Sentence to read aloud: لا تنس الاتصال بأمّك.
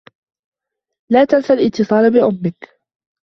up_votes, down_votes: 2, 0